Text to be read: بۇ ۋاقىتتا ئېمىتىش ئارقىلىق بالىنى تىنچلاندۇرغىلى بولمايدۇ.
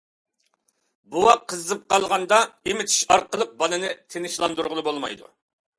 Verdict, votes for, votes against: rejected, 0, 2